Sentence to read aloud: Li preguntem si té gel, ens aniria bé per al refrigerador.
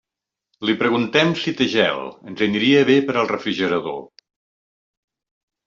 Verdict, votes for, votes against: accepted, 2, 0